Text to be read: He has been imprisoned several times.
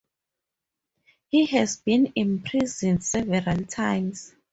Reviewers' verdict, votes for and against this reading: rejected, 2, 2